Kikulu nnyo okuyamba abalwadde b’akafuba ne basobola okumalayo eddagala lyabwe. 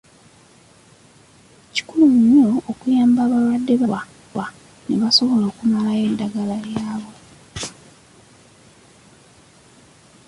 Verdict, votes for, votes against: rejected, 0, 3